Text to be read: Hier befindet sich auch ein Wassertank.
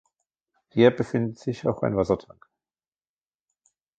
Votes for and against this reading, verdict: 0, 2, rejected